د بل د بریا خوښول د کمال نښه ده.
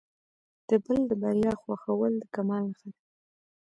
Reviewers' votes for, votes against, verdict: 0, 2, rejected